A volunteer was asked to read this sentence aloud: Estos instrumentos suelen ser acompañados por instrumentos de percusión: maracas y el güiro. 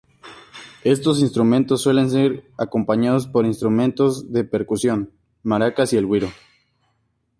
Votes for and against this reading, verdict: 4, 0, accepted